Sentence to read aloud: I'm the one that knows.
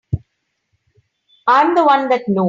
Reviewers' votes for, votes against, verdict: 0, 3, rejected